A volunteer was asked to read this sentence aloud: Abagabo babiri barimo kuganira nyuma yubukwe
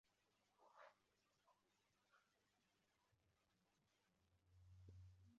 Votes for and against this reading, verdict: 0, 2, rejected